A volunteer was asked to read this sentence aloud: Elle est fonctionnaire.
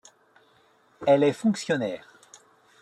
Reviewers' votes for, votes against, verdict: 2, 0, accepted